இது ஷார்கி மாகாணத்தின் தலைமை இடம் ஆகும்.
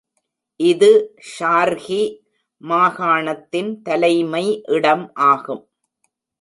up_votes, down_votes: 2, 1